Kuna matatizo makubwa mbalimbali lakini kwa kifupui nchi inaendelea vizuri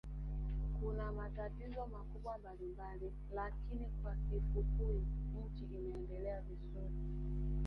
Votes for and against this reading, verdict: 0, 3, rejected